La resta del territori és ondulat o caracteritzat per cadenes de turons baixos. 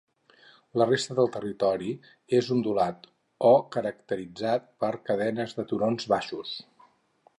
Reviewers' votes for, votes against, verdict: 4, 0, accepted